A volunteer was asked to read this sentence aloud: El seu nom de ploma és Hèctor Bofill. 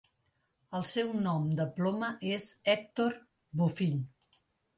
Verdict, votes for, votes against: accepted, 2, 0